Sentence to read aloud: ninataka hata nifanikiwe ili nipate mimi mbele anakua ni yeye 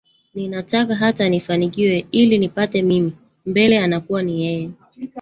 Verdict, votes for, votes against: rejected, 1, 2